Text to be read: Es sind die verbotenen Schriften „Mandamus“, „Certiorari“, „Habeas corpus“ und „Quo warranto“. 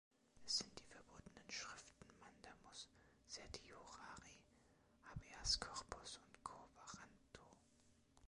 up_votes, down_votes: 1, 2